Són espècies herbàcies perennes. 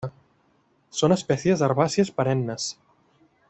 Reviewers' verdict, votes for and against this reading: accepted, 2, 0